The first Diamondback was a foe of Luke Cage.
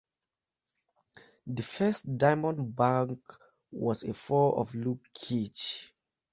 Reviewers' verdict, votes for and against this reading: rejected, 0, 2